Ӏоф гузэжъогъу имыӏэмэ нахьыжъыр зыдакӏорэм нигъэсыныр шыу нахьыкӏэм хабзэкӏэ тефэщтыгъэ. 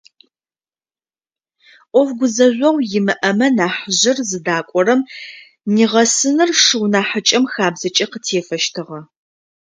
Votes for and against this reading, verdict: 1, 2, rejected